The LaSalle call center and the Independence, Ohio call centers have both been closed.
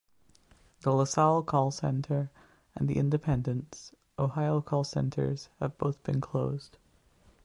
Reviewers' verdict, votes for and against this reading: accepted, 2, 0